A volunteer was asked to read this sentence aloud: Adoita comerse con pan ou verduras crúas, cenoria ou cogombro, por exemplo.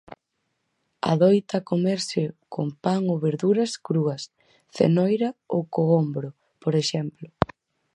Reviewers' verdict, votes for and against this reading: rejected, 0, 4